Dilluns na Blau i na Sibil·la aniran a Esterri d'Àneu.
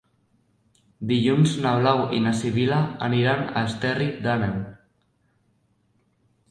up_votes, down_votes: 2, 0